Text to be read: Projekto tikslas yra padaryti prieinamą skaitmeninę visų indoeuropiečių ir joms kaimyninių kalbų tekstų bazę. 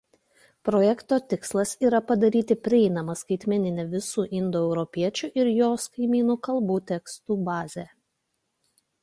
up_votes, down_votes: 1, 2